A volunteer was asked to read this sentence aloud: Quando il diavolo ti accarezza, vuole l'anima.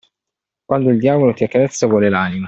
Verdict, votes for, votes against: accepted, 2, 0